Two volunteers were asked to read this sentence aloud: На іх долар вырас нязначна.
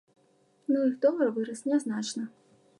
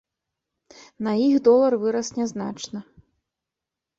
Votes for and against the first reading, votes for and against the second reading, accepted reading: 1, 2, 2, 0, second